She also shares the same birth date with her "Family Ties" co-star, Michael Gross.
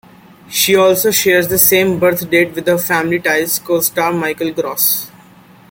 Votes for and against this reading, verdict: 2, 0, accepted